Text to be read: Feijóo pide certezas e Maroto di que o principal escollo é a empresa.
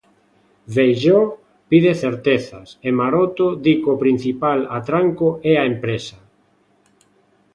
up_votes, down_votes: 0, 2